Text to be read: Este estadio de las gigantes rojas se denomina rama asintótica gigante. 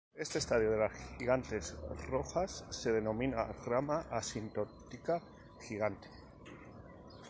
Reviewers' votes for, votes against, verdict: 0, 2, rejected